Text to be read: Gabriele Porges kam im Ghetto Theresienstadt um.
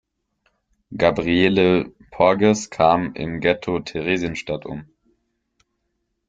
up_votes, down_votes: 2, 0